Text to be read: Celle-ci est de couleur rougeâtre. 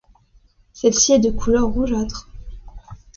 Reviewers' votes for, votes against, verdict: 2, 0, accepted